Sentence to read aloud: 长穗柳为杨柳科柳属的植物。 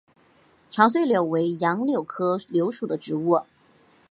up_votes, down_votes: 2, 0